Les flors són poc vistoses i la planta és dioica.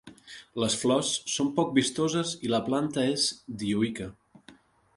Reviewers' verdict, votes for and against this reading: rejected, 1, 2